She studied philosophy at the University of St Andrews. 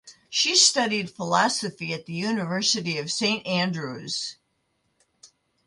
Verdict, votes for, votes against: accepted, 2, 0